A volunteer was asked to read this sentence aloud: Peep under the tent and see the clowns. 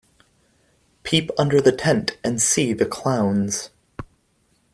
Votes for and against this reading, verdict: 2, 0, accepted